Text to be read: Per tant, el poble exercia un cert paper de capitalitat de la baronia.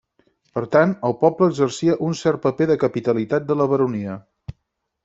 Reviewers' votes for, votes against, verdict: 0, 4, rejected